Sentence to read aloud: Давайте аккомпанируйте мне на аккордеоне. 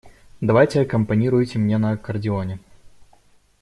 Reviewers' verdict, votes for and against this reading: accepted, 2, 0